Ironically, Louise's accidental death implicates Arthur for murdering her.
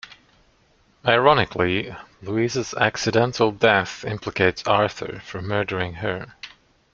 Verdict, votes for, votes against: rejected, 1, 2